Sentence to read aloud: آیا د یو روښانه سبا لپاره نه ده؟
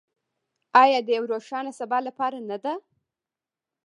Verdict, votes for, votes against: rejected, 0, 2